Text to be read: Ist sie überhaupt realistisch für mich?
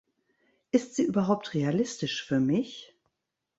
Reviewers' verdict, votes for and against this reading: rejected, 1, 2